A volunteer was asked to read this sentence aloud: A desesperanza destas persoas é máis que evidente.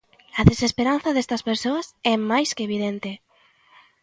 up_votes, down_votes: 2, 0